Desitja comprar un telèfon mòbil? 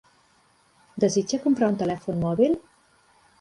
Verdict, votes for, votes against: accepted, 3, 0